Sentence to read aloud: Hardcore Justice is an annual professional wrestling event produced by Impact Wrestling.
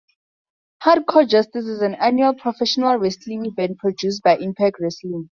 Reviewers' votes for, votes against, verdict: 2, 2, rejected